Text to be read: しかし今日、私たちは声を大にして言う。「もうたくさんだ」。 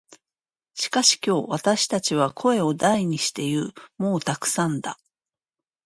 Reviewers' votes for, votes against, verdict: 2, 1, accepted